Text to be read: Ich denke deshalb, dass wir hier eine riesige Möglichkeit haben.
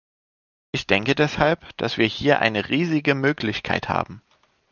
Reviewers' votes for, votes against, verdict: 2, 1, accepted